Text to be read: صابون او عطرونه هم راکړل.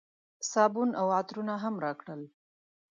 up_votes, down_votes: 2, 0